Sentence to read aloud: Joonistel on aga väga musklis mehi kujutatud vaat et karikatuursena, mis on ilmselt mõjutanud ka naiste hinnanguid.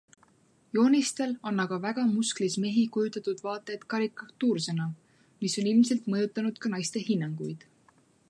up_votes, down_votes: 2, 0